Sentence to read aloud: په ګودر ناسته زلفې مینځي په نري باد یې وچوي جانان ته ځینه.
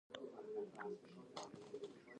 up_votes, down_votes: 1, 2